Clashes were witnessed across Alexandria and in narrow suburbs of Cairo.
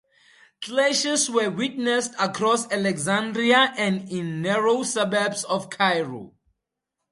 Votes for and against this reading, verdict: 4, 0, accepted